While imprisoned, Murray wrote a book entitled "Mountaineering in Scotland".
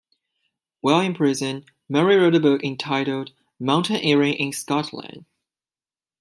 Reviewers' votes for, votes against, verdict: 0, 2, rejected